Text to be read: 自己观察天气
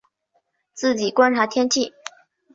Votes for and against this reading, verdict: 2, 0, accepted